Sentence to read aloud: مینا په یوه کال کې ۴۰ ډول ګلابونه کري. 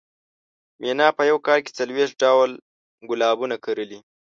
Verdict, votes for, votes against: rejected, 0, 2